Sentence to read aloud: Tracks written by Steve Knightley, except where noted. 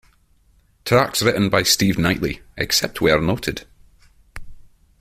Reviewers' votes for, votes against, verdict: 1, 2, rejected